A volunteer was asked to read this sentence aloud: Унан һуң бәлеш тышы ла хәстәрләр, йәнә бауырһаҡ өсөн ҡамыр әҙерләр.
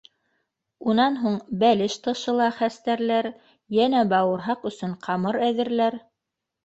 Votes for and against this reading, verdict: 2, 0, accepted